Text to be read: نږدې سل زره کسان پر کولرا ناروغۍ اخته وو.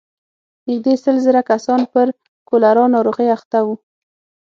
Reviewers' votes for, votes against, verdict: 6, 0, accepted